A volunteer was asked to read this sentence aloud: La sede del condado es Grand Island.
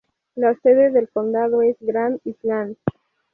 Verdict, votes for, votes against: rejected, 0, 2